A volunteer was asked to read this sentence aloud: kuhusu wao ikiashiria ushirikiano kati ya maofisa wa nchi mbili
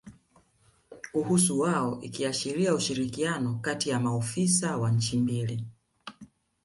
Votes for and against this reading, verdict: 0, 2, rejected